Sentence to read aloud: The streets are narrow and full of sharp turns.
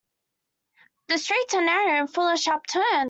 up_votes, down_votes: 0, 2